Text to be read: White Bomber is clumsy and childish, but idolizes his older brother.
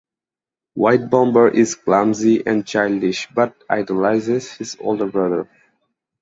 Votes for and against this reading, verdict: 2, 0, accepted